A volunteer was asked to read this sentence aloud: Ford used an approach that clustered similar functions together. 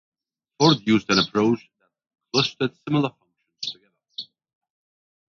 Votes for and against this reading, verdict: 0, 2, rejected